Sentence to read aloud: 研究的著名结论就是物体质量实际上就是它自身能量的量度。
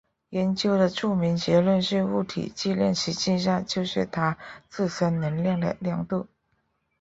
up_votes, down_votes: 1, 2